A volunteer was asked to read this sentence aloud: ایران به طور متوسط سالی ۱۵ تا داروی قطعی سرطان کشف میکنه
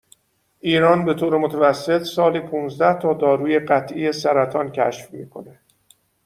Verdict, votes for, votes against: rejected, 0, 2